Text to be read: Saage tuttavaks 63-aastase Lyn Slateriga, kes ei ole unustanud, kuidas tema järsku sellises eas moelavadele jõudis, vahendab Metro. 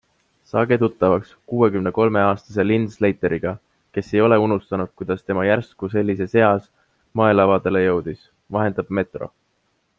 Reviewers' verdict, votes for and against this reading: rejected, 0, 2